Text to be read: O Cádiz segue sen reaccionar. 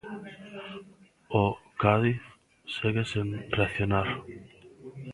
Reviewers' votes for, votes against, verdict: 1, 2, rejected